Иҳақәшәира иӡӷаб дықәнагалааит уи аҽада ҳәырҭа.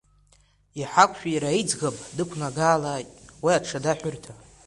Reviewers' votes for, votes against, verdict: 1, 2, rejected